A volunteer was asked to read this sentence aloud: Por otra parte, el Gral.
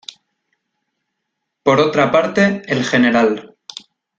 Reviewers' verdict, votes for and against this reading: rejected, 1, 3